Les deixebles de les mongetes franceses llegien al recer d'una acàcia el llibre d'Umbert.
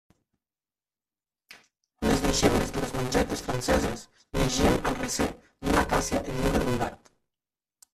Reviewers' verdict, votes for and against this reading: rejected, 0, 2